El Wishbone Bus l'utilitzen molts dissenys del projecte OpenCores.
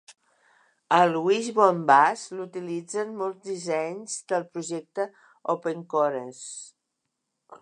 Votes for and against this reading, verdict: 1, 2, rejected